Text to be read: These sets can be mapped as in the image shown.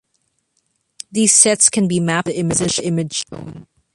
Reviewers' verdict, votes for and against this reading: rejected, 0, 2